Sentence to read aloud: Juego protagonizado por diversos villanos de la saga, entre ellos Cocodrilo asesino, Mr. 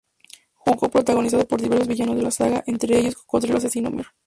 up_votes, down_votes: 0, 4